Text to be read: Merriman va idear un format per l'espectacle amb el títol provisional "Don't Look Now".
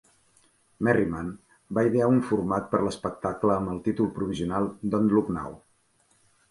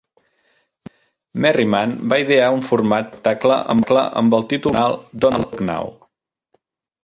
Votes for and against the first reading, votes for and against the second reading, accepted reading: 4, 0, 0, 2, first